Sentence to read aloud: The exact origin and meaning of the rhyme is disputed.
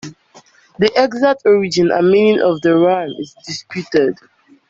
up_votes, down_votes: 2, 0